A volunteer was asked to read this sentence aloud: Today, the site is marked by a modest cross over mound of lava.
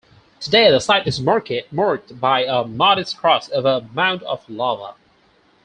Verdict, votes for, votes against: rejected, 0, 4